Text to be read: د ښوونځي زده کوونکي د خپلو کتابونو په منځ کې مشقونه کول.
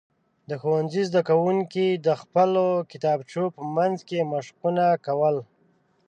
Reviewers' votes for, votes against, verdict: 0, 2, rejected